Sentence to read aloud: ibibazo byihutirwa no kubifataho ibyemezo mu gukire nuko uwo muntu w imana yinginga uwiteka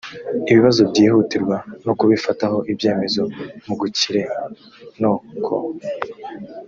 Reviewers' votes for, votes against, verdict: 0, 2, rejected